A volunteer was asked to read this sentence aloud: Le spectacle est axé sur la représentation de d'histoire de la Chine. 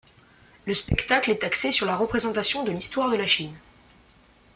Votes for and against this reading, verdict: 2, 0, accepted